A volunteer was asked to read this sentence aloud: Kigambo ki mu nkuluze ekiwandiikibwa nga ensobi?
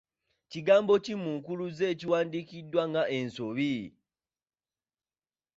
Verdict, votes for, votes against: rejected, 1, 2